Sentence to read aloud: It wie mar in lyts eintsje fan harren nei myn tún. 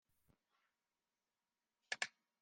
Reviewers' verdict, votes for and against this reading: rejected, 0, 3